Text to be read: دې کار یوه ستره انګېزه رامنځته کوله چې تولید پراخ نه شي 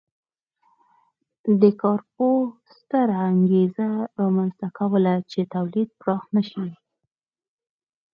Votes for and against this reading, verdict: 4, 0, accepted